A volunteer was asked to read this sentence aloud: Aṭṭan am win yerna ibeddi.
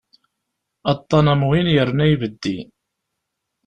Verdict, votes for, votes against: accepted, 3, 0